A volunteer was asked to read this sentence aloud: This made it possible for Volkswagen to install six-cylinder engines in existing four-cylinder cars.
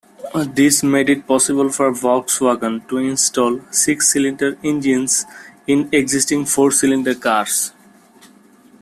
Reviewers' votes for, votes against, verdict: 2, 0, accepted